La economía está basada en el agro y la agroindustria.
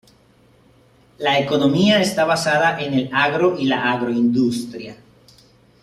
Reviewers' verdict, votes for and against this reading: accepted, 2, 0